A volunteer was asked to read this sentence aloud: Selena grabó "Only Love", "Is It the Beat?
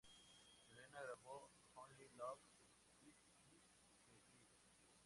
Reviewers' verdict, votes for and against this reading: rejected, 0, 2